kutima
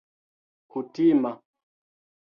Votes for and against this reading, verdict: 0, 2, rejected